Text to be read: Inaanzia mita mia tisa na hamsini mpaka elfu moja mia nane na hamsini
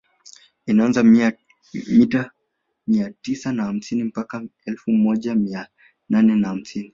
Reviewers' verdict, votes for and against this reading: accepted, 2, 1